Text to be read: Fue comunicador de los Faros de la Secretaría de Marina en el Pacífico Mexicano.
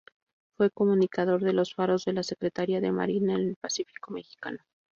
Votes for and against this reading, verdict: 0, 2, rejected